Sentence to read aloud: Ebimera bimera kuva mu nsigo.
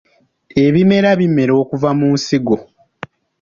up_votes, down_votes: 2, 1